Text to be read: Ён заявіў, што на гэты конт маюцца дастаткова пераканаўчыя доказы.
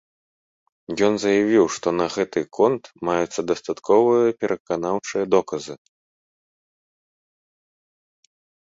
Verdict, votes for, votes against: rejected, 1, 2